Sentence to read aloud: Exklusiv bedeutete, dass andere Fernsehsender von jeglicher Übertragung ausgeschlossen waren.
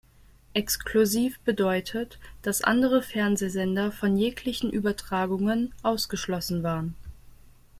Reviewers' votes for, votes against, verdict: 0, 2, rejected